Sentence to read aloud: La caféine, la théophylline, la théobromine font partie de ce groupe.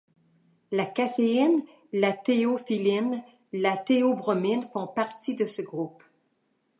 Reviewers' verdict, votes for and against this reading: accepted, 2, 0